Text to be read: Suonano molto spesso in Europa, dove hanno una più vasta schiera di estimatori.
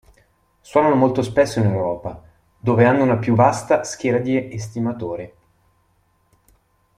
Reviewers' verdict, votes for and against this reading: rejected, 1, 2